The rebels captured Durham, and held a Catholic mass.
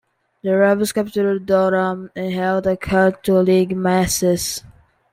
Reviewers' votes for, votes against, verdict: 0, 2, rejected